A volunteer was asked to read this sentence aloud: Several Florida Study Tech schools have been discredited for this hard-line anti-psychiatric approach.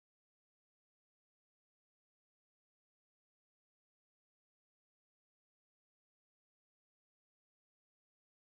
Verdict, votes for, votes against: rejected, 0, 2